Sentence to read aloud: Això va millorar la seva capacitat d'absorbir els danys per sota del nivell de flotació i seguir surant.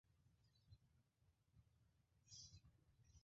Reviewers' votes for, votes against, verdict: 0, 3, rejected